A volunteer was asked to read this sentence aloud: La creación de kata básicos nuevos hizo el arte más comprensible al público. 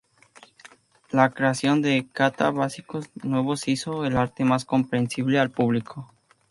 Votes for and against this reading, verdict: 2, 0, accepted